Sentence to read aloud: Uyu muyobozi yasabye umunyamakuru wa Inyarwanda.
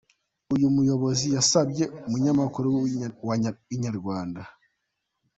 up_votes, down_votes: 1, 2